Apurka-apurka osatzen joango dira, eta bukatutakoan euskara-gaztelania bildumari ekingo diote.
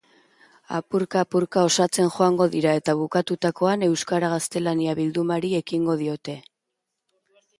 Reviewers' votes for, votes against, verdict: 2, 0, accepted